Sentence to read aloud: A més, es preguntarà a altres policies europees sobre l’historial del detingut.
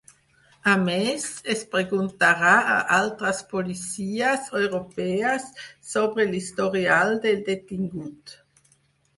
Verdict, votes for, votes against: accepted, 6, 0